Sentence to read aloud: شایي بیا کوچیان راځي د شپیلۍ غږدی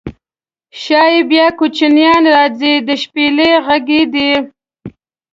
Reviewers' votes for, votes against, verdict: 1, 2, rejected